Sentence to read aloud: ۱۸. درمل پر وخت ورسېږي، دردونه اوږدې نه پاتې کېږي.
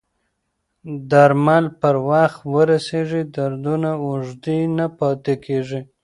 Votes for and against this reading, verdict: 0, 2, rejected